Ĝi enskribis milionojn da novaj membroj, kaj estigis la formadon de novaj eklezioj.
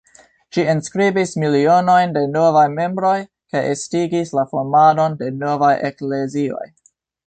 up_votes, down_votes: 1, 2